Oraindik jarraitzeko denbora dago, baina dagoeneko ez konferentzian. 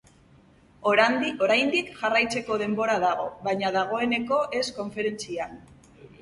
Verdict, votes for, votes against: rejected, 0, 2